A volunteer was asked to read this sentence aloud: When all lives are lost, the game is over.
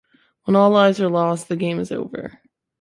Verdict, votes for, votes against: accepted, 2, 0